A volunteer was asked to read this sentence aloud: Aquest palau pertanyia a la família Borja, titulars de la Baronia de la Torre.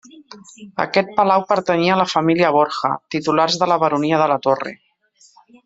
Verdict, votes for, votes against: rejected, 0, 2